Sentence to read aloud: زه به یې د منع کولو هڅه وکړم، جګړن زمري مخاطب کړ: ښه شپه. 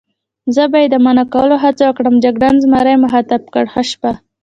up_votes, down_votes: 1, 2